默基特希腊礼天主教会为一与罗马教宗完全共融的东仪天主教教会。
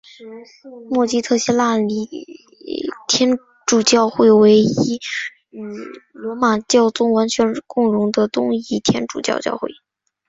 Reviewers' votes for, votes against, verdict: 4, 0, accepted